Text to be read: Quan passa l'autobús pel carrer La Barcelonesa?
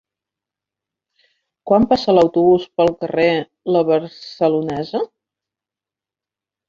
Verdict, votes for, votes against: rejected, 1, 2